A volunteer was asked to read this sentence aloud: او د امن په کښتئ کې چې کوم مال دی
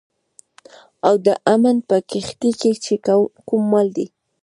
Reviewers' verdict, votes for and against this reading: rejected, 1, 2